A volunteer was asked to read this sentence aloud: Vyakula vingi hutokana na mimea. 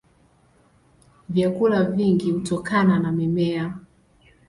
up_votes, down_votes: 3, 1